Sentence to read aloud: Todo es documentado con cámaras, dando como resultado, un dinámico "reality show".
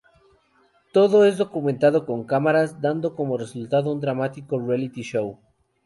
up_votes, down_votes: 0, 2